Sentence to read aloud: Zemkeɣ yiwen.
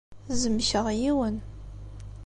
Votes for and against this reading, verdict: 2, 0, accepted